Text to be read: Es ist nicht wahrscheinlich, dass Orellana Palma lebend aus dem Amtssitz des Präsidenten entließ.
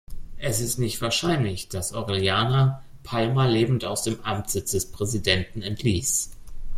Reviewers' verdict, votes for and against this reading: accepted, 2, 0